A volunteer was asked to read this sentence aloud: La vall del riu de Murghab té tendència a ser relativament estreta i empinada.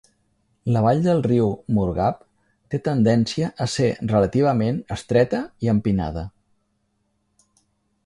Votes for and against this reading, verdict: 1, 2, rejected